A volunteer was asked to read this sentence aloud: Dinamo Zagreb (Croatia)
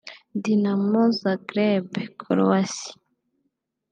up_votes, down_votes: 0, 2